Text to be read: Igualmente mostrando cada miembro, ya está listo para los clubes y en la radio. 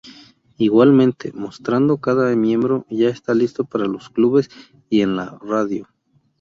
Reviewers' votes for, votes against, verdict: 2, 0, accepted